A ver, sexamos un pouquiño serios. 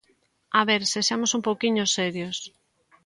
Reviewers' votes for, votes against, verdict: 2, 0, accepted